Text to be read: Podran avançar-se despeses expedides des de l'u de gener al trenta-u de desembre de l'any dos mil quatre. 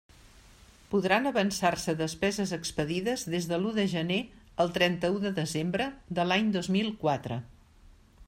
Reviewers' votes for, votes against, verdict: 3, 0, accepted